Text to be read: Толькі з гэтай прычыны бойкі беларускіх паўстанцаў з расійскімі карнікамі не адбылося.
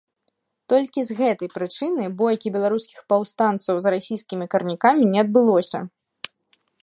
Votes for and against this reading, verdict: 0, 2, rejected